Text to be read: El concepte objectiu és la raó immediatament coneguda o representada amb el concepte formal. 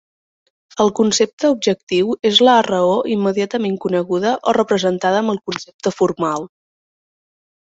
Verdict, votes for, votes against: rejected, 1, 2